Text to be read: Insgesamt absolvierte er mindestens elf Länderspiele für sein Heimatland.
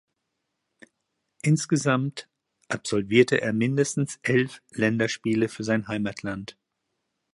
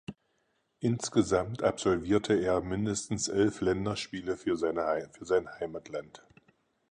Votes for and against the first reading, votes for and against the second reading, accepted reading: 2, 0, 0, 4, first